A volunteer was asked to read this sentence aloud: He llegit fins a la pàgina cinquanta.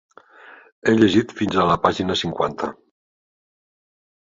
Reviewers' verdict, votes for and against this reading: accepted, 3, 0